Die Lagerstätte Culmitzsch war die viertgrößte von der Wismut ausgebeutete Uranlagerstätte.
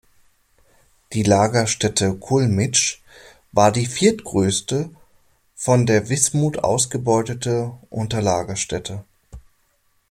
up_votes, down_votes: 1, 2